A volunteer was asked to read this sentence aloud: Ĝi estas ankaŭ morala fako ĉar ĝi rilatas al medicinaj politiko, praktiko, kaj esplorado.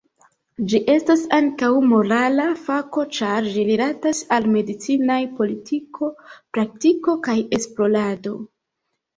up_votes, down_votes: 1, 2